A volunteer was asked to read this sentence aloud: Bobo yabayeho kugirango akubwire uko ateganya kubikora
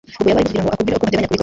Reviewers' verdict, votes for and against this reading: rejected, 0, 2